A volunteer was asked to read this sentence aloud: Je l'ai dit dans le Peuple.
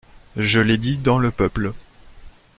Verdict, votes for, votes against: accepted, 2, 1